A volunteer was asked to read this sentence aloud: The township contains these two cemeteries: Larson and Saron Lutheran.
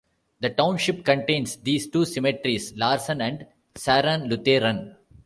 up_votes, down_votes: 2, 0